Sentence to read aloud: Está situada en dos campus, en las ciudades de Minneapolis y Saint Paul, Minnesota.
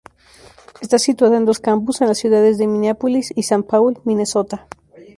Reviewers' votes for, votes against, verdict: 2, 0, accepted